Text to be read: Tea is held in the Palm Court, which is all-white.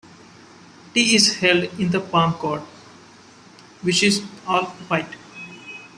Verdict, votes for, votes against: accepted, 2, 0